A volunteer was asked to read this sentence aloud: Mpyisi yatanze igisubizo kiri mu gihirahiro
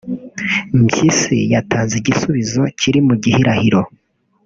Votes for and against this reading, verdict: 1, 2, rejected